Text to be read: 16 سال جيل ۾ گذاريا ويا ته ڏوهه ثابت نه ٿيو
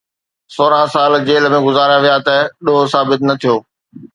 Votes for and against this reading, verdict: 0, 2, rejected